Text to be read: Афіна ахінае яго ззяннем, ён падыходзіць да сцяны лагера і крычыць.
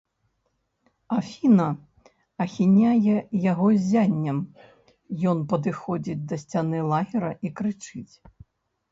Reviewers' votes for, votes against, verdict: 1, 2, rejected